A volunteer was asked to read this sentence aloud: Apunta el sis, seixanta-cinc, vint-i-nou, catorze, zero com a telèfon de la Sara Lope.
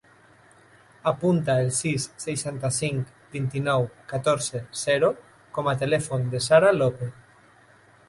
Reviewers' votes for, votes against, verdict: 0, 2, rejected